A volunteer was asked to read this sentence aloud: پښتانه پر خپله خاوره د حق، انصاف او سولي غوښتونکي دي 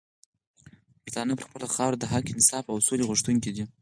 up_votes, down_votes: 4, 0